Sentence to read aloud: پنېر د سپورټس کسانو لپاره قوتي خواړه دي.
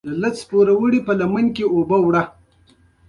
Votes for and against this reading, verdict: 0, 2, rejected